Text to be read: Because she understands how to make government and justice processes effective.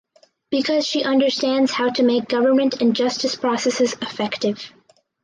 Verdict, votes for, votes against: accepted, 4, 0